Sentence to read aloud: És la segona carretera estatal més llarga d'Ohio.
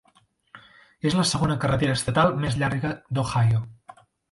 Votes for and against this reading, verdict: 3, 0, accepted